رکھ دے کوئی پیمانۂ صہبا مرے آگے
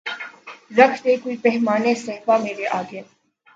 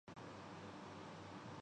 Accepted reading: first